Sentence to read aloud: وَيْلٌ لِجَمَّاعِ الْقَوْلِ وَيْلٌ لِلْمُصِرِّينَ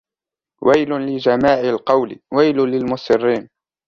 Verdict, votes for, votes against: accepted, 2, 0